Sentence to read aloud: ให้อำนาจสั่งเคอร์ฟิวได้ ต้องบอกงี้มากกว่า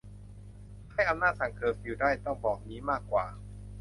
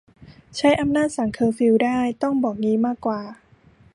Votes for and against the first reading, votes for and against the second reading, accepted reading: 2, 0, 0, 3, first